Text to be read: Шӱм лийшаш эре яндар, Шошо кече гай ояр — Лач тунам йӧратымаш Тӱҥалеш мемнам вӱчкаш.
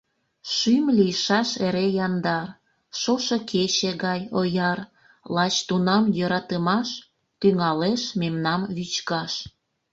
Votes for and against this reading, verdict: 0, 2, rejected